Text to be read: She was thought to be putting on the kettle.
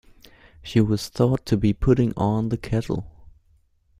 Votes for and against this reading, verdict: 2, 0, accepted